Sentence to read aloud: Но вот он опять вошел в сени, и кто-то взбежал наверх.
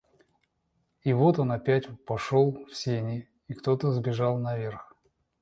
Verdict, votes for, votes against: rejected, 1, 2